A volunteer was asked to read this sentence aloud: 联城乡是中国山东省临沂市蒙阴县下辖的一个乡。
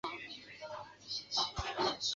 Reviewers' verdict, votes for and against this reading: rejected, 1, 3